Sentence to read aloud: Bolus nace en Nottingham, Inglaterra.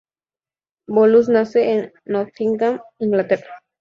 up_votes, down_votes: 0, 2